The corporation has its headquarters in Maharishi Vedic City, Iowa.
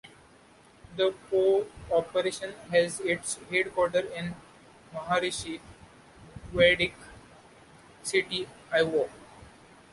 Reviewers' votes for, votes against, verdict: 1, 2, rejected